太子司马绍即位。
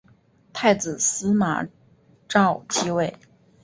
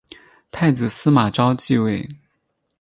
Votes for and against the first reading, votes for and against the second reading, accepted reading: 5, 2, 2, 4, first